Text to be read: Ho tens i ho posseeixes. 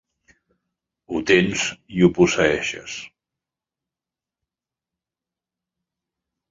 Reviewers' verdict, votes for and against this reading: accepted, 2, 0